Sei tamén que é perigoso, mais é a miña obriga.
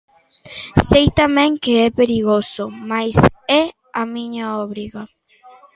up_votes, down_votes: 2, 0